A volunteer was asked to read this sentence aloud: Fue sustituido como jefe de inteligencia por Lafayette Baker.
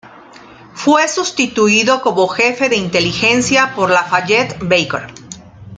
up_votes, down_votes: 2, 0